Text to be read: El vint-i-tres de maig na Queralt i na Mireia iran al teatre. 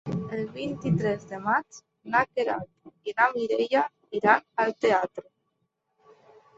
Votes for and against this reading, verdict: 3, 0, accepted